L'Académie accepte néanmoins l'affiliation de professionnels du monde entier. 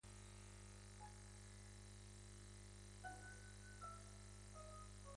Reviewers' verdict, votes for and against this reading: rejected, 1, 2